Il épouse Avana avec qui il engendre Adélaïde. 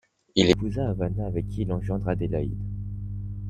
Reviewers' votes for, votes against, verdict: 1, 2, rejected